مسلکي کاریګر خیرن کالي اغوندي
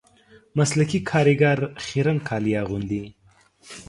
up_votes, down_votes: 2, 0